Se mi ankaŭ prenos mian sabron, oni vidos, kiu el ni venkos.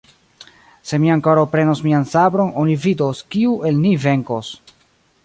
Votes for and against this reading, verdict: 1, 2, rejected